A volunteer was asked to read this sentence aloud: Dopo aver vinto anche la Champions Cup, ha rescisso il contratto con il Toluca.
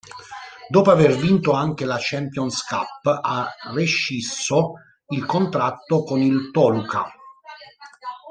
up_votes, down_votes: 0, 2